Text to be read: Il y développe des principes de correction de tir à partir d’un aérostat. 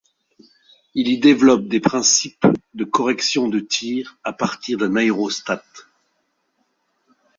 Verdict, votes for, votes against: rejected, 1, 2